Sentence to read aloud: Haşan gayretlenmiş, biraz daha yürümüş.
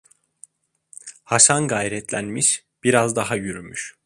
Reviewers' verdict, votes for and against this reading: accepted, 2, 0